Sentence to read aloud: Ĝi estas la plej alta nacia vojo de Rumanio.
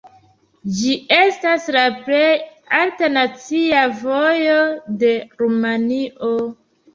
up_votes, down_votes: 2, 0